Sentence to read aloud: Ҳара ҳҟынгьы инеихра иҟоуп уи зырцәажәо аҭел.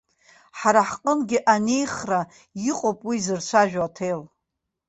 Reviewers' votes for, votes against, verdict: 1, 2, rejected